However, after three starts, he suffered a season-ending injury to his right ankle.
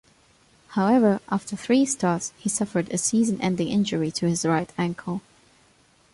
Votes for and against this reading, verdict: 3, 0, accepted